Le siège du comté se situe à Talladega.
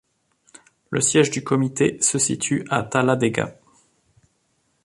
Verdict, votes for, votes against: rejected, 0, 2